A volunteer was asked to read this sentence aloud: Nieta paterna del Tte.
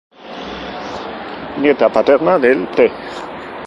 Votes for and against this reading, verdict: 0, 2, rejected